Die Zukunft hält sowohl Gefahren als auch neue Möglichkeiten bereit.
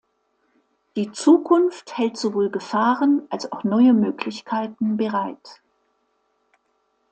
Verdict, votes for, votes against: accepted, 2, 0